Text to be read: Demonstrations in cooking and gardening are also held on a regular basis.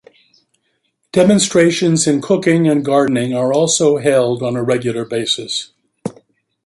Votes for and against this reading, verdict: 2, 0, accepted